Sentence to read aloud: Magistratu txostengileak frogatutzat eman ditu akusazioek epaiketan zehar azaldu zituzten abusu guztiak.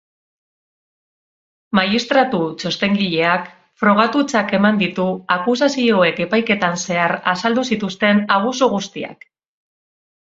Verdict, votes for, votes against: rejected, 2, 2